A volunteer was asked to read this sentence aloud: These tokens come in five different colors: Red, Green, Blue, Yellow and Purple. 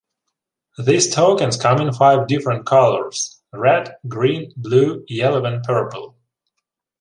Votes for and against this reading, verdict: 2, 0, accepted